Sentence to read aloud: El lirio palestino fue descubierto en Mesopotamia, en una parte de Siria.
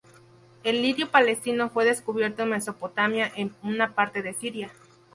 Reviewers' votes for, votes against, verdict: 0, 2, rejected